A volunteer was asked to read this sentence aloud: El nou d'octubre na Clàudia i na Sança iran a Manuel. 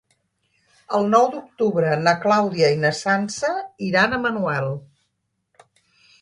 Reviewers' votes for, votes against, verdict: 3, 0, accepted